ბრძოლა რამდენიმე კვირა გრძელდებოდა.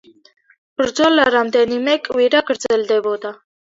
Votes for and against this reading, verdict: 2, 0, accepted